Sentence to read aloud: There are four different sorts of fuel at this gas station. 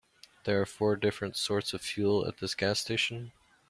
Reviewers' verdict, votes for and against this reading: accepted, 2, 0